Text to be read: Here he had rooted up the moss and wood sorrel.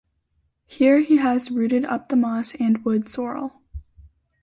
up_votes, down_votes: 0, 2